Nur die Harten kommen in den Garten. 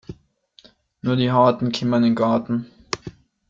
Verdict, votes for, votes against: rejected, 0, 2